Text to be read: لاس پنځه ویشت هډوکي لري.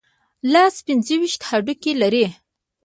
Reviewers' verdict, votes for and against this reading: rejected, 1, 2